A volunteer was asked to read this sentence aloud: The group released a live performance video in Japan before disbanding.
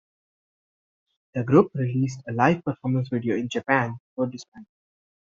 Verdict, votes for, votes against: rejected, 0, 2